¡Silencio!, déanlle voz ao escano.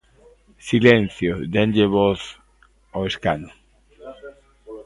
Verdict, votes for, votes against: accepted, 2, 0